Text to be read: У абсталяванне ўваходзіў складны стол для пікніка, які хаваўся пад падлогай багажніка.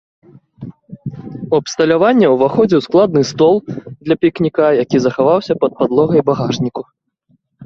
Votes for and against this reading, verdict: 0, 2, rejected